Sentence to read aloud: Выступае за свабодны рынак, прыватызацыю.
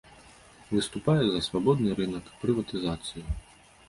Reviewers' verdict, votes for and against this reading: accepted, 2, 0